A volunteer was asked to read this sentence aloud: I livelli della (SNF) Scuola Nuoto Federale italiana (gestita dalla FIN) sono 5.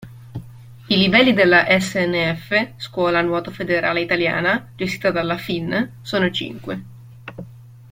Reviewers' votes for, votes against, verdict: 0, 2, rejected